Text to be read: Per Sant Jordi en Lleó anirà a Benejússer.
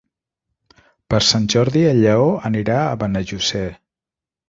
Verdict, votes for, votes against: rejected, 0, 2